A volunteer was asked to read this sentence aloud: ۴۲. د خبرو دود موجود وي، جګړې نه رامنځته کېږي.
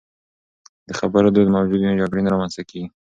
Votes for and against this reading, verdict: 0, 2, rejected